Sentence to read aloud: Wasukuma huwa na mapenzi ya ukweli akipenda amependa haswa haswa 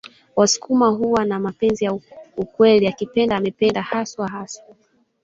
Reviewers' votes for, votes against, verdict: 0, 2, rejected